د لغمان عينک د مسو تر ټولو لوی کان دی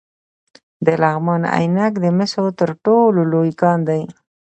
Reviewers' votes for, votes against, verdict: 2, 0, accepted